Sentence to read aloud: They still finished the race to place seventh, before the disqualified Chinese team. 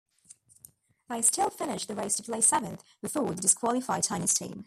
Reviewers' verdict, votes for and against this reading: rejected, 0, 2